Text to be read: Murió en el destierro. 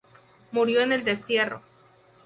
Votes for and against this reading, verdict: 2, 0, accepted